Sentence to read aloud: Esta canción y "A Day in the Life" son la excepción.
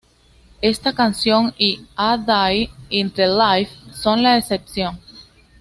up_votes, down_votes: 2, 0